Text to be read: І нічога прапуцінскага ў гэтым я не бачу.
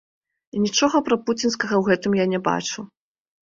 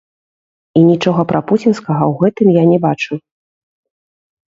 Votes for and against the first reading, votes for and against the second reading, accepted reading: 2, 0, 1, 2, first